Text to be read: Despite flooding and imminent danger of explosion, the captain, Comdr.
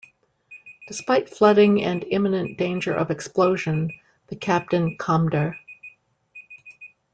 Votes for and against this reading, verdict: 0, 2, rejected